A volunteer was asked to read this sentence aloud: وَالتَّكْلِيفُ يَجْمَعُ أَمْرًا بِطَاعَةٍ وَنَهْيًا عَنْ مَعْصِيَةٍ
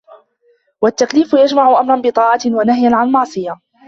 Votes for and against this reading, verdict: 2, 1, accepted